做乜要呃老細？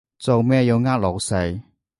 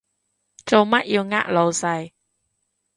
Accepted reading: second